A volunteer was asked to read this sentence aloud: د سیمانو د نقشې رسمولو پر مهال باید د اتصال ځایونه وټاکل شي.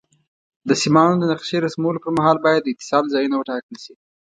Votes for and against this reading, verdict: 2, 0, accepted